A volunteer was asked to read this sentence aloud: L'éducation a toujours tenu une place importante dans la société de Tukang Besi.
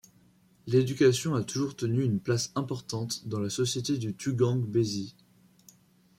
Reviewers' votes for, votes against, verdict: 1, 2, rejected